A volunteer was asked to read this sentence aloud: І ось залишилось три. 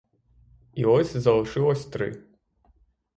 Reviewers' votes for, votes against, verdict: 0, 3, rejected